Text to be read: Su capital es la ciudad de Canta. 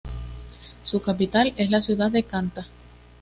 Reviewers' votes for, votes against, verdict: 2, 0, accepted